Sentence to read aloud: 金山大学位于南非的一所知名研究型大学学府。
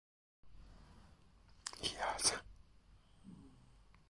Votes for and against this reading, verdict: 0, 2, rejected